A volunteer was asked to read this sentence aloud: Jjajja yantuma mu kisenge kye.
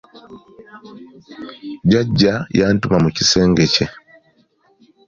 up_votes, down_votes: 2, 0